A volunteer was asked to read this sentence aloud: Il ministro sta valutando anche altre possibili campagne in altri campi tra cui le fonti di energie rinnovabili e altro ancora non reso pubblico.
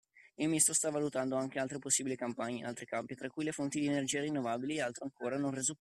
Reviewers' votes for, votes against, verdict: 0, 2, rejected